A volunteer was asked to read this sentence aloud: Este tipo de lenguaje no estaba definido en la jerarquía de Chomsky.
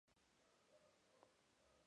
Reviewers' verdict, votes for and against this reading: rejected, 0, 2